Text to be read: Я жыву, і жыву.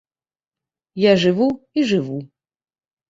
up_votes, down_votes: 2, 0